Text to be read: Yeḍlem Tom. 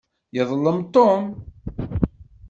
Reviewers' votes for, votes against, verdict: 2, 0, accepted